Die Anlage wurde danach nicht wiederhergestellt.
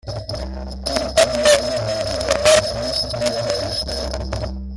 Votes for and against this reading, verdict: 0, 2, rejected